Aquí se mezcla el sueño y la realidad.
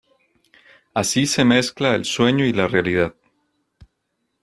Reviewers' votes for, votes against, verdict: 1, 2, rejected